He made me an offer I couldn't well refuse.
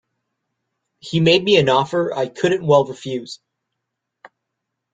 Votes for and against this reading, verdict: 2, 0, accepted